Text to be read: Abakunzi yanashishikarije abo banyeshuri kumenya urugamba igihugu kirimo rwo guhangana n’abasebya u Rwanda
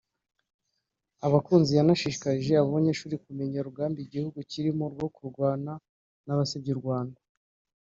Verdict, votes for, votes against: rejected, 1, 2